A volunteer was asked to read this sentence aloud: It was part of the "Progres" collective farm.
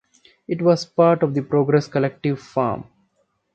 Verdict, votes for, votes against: accepted, 2, 0